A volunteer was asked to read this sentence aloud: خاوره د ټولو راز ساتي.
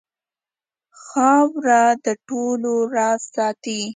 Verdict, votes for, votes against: accepted, 2, 0